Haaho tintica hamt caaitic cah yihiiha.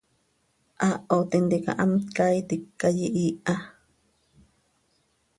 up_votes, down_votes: 2, 0